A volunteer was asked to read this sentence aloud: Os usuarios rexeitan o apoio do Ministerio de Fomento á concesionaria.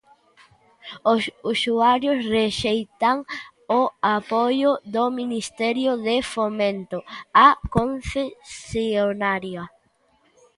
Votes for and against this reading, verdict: 1, 2, rejected